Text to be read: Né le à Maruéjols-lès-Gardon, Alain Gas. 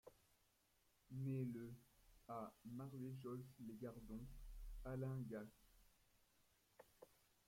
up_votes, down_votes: 0, 2